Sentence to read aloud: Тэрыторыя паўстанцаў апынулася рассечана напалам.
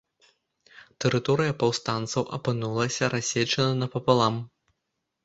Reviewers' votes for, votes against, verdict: 1, 2, rejected